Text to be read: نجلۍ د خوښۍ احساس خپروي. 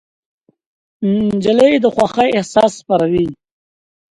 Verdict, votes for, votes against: accepted, 2, 0